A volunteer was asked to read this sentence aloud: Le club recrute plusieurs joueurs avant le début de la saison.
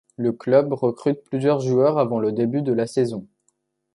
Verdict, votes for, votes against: accepted, 2, 0